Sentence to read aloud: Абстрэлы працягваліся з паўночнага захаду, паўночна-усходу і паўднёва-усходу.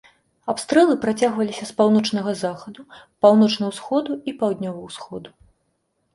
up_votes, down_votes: 2, 0